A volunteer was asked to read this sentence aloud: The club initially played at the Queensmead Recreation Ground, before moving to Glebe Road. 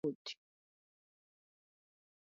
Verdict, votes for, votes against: rejected, 0, 2